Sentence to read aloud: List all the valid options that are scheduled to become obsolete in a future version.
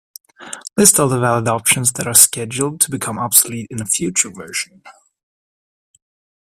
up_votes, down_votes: 2, 0